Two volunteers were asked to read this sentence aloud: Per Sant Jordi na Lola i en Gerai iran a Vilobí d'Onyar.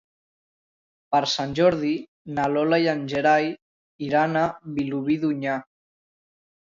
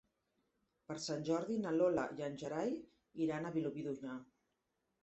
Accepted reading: first